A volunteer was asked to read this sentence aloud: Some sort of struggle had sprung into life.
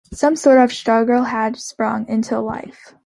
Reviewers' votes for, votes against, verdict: 2, 0, accepted